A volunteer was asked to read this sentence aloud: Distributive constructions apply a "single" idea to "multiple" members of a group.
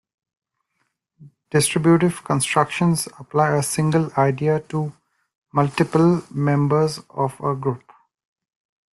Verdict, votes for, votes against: accepted, 2, 1